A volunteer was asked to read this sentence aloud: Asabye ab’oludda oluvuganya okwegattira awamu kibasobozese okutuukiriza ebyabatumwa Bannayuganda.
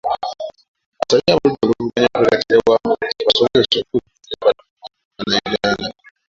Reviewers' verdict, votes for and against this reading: rejected, 0, 2